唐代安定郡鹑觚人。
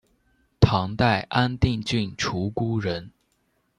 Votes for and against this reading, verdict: 2, 0, accepted